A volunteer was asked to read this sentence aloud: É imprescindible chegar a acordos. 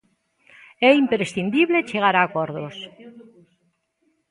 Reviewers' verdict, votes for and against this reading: rejected, 0, 2